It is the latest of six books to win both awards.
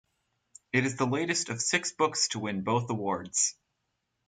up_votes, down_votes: 4, 0